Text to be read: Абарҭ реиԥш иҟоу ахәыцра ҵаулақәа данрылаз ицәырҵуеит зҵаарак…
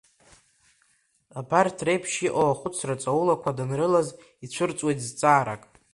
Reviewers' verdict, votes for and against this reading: accepted, 2, 0